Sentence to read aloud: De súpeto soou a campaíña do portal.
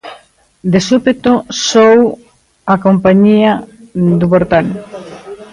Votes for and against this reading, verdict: 0, 2, rejected